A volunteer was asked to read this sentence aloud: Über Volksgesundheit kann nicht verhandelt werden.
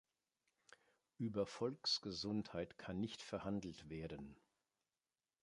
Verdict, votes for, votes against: accepted, 2, 0